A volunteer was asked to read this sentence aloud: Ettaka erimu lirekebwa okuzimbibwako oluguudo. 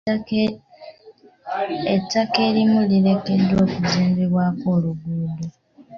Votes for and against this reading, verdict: 0, 2, rejected